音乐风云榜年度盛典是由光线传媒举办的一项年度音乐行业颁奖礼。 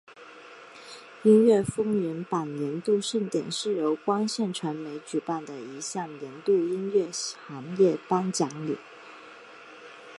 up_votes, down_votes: 3, 2